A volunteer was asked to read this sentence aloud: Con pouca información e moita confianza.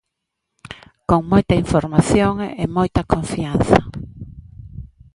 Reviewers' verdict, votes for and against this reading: rejected, 0, 2